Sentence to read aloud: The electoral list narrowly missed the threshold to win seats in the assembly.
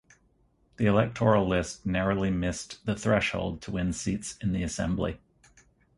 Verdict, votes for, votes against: accepted, 4, 0